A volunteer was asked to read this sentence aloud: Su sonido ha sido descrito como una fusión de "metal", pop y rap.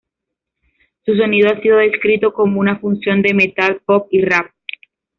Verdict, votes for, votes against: rejected, 1, 2